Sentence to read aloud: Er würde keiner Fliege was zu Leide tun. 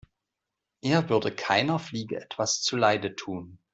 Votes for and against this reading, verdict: 0, 2, rejected